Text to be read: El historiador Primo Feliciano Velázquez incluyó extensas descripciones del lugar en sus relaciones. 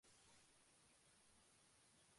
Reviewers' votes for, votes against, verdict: 0, 2, rejected